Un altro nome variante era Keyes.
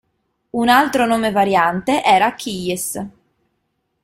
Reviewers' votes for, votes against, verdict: 2, 1, accepted